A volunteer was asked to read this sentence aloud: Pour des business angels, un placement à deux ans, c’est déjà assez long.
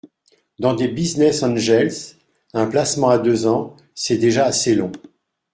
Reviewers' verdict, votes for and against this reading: rejected, 0, 2